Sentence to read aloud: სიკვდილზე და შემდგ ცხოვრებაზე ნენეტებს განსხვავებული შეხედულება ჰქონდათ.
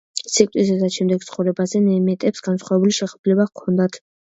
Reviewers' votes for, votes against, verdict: 0, 2, rejected